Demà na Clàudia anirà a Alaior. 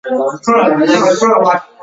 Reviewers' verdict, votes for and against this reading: rejected, 0, 2